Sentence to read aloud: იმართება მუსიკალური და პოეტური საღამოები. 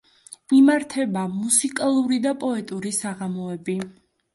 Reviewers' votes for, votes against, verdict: 2, 0, accepted